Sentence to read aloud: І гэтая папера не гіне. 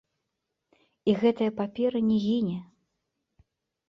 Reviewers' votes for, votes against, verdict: 2, 1, accepted